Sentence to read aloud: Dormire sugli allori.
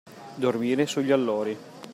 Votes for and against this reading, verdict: 2, 0, accepted